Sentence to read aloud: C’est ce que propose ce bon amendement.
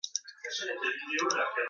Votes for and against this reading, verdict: 0, 2, rejected